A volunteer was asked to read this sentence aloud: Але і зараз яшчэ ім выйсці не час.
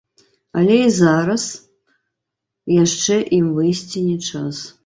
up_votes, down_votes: 1, 2